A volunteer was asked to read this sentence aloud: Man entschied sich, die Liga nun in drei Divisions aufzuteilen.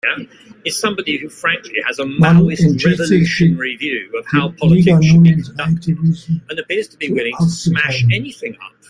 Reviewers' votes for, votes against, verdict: 0, 2, rejected